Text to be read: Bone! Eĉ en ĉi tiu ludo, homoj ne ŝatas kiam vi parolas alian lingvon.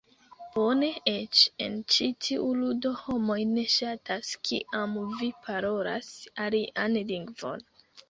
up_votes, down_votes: 1, 2